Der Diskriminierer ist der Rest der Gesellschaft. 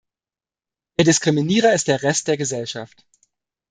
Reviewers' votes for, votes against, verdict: 0, 2, rejected